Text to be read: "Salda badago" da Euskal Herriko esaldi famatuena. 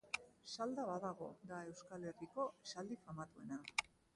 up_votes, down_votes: 2, 0